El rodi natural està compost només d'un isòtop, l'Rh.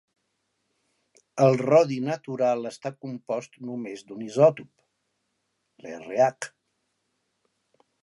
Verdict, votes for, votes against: accepted, 2, 1